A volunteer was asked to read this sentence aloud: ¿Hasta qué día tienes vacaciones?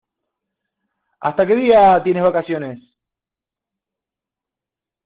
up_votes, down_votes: 2, 1